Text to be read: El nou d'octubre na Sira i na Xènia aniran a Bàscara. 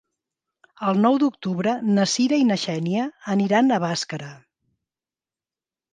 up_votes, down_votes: 2, 0